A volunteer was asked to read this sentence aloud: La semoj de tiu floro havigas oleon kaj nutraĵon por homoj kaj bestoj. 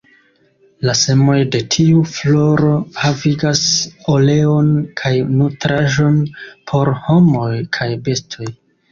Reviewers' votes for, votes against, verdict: 1, 3, rejected